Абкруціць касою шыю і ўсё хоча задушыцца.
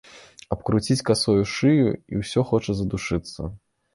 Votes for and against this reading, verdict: 1, 2, rejected